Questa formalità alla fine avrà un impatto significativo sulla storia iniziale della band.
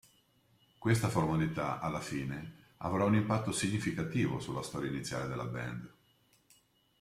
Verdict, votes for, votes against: accepted, 2, 1